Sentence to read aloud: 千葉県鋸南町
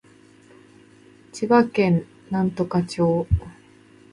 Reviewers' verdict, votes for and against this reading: rejected, 0, 2